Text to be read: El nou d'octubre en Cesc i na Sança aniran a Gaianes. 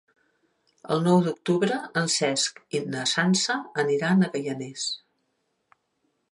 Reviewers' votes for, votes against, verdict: 1, 2, rejected